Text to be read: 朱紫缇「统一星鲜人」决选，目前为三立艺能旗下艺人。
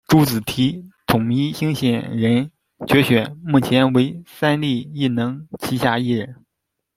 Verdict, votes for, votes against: accepted, 2, 0